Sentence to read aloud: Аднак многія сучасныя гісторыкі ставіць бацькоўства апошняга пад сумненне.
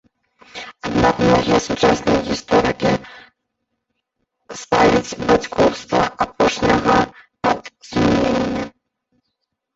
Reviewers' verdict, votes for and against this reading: rejected, 0, 2